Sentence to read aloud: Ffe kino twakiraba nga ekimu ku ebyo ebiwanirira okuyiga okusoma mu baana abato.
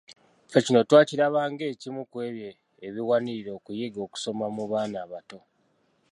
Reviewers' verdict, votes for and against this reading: accepted, 2, 0